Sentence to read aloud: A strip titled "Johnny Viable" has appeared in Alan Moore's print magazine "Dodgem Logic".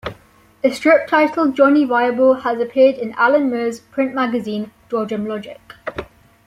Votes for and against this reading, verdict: 2, 0, accepted